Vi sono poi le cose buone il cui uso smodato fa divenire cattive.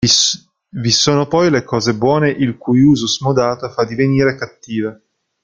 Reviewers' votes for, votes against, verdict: 0, 2, rejected